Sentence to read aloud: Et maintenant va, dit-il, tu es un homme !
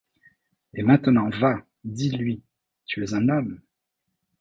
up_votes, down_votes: 0, 2